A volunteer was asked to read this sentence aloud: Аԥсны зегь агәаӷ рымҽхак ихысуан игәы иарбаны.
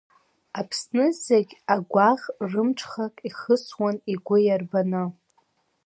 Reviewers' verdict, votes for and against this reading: accepted, 2, 0